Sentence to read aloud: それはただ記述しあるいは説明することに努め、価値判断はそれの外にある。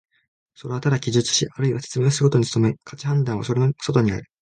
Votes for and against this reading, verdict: 1, 2, rejected